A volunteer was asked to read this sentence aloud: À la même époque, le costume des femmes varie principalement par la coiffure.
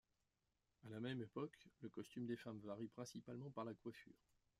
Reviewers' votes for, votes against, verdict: 2, 0, accepted